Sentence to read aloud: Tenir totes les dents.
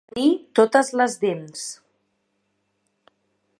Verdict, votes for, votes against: rejected, 0, 3